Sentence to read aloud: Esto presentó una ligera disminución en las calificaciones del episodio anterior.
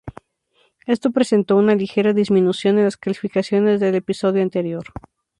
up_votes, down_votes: 2, 0